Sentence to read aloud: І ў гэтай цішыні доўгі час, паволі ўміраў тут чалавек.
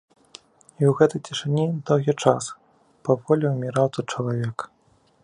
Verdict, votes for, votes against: accepted, 2, 0